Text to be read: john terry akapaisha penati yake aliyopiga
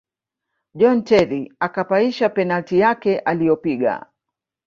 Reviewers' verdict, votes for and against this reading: accepted, 3, 0